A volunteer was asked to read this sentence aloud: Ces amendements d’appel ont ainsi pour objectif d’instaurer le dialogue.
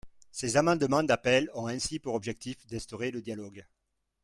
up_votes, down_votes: 1, 2